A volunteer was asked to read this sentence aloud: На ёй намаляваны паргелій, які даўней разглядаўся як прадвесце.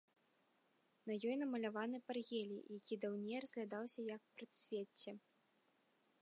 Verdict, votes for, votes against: rejected, 0, 2